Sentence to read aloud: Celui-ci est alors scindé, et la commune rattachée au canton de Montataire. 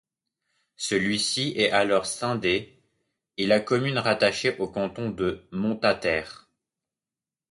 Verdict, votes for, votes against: accepted, 2, 0